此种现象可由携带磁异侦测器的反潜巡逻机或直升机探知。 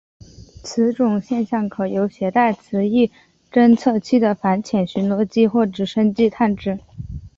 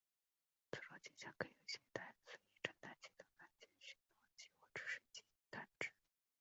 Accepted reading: first